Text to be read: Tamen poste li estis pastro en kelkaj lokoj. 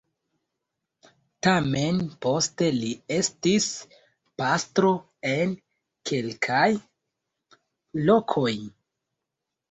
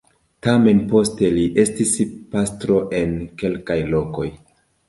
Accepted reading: second